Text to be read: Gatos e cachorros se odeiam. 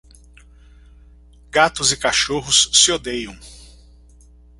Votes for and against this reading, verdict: 2, 1, accepted